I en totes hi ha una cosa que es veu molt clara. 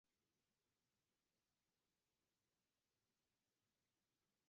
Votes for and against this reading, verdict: 0, 2, rejected